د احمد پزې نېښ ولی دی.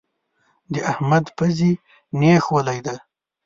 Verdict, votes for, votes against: accepted, 2, 0